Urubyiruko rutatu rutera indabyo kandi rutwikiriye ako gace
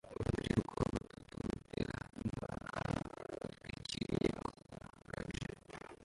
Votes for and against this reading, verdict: 0, 2, rejected